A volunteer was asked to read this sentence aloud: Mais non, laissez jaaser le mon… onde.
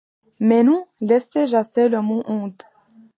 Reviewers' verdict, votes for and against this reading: accepted, 2, 0